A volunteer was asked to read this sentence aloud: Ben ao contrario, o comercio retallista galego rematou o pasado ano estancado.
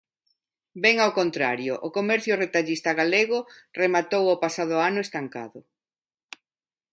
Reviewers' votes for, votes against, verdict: 2, 0, accepted